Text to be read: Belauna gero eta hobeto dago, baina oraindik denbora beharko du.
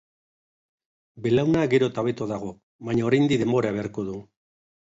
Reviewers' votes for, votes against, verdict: 3, 0, accepted